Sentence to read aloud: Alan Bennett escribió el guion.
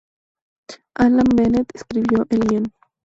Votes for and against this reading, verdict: 2, 0, accepted